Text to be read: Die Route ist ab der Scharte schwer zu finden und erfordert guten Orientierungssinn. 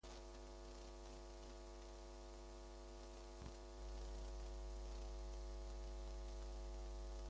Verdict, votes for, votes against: rejected, 0, 2